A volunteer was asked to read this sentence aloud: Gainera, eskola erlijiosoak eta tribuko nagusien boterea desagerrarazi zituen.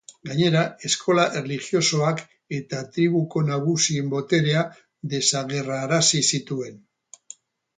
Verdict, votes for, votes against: accepted, 4, 0